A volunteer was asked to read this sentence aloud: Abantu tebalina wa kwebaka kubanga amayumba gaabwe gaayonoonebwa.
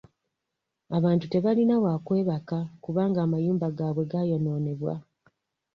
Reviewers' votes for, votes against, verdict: 2, 1, accepted